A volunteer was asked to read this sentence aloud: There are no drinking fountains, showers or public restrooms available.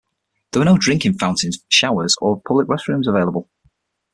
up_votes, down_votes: 6, 0